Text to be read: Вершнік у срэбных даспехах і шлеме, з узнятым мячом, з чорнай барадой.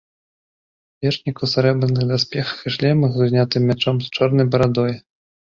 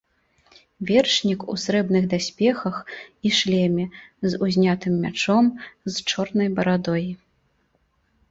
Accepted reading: second